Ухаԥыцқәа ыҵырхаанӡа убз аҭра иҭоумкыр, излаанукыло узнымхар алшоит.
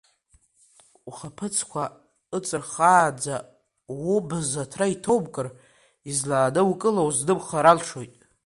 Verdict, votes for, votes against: accepted, 2, 1